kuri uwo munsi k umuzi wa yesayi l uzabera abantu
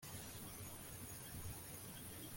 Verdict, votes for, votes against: rejected, 0, 2